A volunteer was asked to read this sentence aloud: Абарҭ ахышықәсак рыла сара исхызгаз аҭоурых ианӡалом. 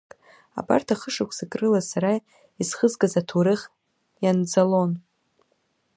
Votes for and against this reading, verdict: 1, 2, rejected